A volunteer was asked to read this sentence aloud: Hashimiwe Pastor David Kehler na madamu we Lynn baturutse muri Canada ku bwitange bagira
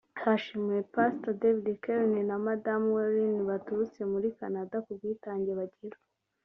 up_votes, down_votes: 2, 0